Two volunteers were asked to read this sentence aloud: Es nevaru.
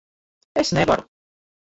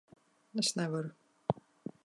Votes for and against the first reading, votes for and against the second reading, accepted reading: 1, 2, 2, 0, second